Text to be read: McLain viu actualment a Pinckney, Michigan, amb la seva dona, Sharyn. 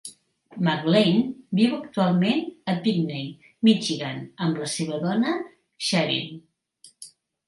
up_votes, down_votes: 2, 0